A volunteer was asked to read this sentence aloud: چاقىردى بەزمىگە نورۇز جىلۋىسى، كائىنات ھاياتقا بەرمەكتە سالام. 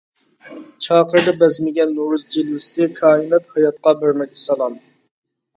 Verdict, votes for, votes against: rejected, 0, 2